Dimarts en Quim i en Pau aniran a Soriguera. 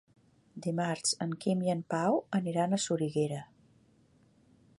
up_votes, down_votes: 3, 0